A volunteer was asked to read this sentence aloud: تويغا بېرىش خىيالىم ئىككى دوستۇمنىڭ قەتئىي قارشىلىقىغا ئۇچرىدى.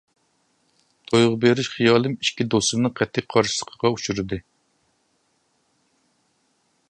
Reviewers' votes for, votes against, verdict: 1, 2, rejected